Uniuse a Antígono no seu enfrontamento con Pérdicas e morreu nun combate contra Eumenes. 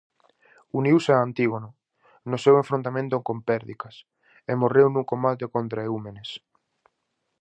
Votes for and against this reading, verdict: 0, 2, rejected